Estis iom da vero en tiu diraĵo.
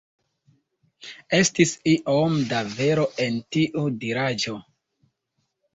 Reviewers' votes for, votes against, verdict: 2, 1, accepted